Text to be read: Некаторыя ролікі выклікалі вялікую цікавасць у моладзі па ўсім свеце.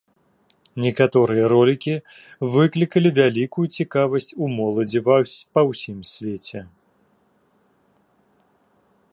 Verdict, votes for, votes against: rejected, 0, 2